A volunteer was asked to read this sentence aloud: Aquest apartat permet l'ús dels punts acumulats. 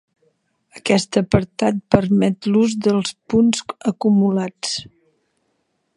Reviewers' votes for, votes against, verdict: 2, 3, rejected